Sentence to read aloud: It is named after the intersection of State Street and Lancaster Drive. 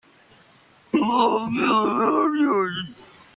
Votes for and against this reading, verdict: 1, 2, rejected